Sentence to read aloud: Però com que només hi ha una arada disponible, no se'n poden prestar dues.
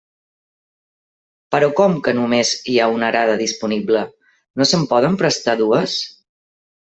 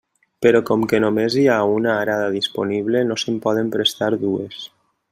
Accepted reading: second